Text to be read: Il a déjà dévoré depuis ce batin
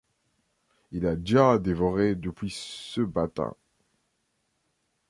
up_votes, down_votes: 2, 0